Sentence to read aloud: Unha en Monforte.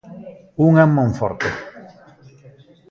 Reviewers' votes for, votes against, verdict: 1, 2, rejected